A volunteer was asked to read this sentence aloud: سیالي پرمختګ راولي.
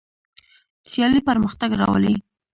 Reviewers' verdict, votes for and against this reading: rejected, 0, 2